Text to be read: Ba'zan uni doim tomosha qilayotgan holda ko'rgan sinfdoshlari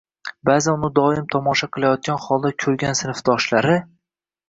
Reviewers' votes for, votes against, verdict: 2, 0, accepted